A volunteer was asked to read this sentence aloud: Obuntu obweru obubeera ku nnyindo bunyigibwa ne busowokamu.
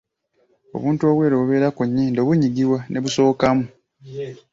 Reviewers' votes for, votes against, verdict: 0, 2, rejected